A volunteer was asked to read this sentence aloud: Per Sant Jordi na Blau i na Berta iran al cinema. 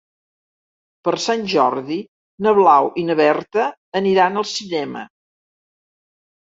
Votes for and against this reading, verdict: 0, 2, rejected